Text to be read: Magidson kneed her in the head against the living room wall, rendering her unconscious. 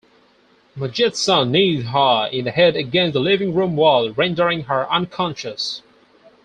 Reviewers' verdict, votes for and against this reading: rejected, 0, 6